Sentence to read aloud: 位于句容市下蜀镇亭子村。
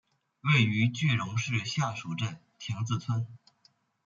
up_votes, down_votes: 2, 0